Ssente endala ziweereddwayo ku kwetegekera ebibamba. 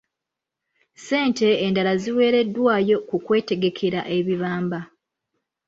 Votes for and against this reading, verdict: 2, 0, accepted